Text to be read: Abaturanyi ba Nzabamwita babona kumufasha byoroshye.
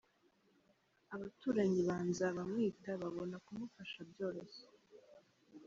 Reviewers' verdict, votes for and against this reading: accepted, 3, 0